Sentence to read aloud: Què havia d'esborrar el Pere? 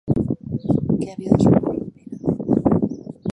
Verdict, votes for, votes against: rejected, 0, 2